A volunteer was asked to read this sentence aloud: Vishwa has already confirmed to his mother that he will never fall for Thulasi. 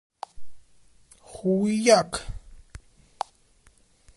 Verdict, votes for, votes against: rejected, 0, 2